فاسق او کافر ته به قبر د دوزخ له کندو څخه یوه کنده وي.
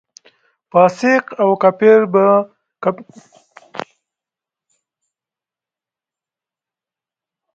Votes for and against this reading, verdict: 0, 4, rejected